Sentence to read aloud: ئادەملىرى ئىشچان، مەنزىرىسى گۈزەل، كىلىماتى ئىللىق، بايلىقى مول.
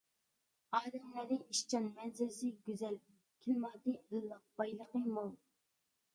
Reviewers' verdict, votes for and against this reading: accepted, 2, 1